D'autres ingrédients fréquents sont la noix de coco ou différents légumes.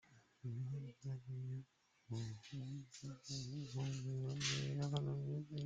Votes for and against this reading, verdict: 0, 2, rejected